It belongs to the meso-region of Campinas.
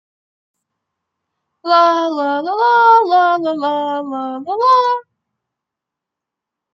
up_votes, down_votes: 0, 2